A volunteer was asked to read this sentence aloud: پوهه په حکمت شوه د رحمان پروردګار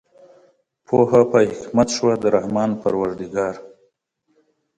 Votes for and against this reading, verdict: 2, 0, accepted